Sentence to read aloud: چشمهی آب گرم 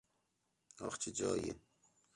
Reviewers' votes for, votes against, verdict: 0, 2, rejected